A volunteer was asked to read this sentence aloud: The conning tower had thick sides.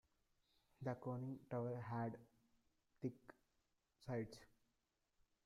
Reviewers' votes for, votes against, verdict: 2, 0, accepted